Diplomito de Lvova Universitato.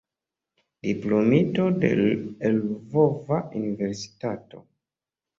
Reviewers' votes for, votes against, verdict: 2, 0, accepted